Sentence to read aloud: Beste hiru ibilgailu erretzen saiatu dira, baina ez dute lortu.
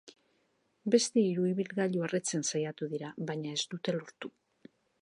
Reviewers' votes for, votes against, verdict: 2, 0, accepted